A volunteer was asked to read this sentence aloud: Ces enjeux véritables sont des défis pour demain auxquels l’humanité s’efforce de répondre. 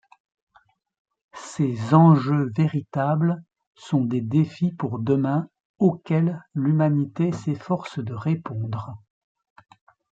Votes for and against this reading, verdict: 2, 0, accepted